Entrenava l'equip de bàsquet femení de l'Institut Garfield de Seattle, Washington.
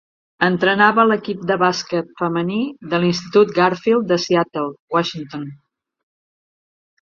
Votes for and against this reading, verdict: 3, 0, accepted